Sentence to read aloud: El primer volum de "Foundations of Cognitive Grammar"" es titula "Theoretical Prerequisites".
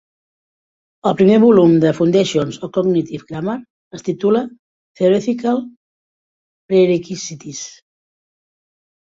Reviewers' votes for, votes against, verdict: 1, 2, rejected